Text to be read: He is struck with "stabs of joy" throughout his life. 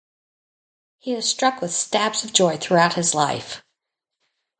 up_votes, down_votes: 2, 0